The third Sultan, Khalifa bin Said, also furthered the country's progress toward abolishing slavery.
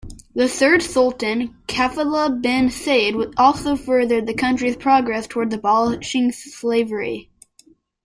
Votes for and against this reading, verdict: 0, 2, rejected